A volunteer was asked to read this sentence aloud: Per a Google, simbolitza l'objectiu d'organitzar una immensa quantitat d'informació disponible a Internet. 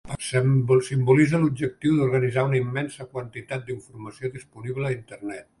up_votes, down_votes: 1, 2